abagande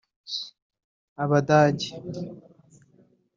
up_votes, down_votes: 0, 3